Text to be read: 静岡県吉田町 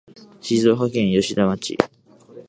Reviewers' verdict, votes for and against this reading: accepted, 2, 0